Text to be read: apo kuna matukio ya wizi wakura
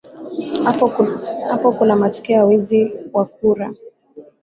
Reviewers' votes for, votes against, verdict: 0, 2, rejected